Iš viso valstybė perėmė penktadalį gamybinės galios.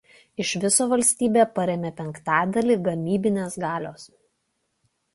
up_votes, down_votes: 1, 2